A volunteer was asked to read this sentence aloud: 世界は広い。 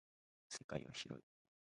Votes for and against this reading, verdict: 0, 2, rejected